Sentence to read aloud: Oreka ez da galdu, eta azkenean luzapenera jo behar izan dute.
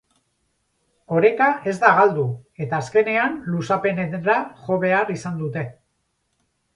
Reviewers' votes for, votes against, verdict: 0, 2, rejected